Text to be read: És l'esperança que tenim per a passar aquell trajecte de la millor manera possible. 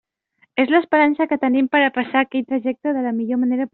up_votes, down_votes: 0, 2